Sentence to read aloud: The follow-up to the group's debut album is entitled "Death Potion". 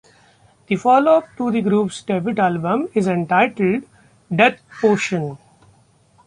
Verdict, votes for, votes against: rejected, 0, 2